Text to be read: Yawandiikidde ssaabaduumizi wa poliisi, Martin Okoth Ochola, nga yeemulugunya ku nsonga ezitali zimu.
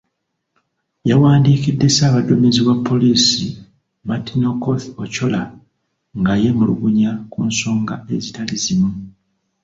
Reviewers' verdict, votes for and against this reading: accepted, 2, 0